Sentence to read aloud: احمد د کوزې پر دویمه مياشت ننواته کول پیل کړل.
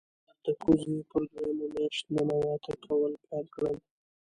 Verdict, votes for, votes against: rejected, 1, 2